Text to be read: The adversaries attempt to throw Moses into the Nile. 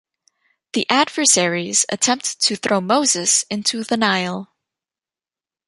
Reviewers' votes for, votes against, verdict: 2, 1, accepted